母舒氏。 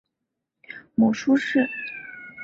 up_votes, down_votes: 5, 0